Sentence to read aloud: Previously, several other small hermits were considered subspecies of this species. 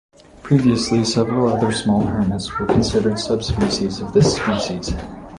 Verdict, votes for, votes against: accepted, 4, 1